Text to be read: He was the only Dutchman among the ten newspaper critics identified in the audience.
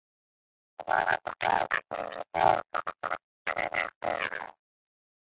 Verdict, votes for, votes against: rejected, 0, 2